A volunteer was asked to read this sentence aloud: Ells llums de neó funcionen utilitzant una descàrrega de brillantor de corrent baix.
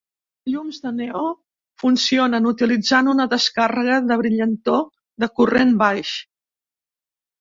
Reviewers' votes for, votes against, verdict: 1, 2, rejected